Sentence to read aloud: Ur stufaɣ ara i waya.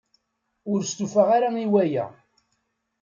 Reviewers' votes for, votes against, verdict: 2, 0, accepted